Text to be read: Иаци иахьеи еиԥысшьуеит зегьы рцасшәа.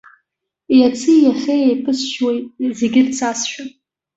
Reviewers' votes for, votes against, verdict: 2, 0, accepted